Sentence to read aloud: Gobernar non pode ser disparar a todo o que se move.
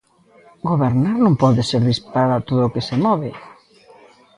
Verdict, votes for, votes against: accepted, 2, 0